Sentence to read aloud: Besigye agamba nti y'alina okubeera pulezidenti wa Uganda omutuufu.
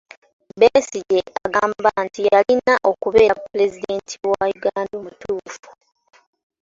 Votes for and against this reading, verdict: 0, 2, rejected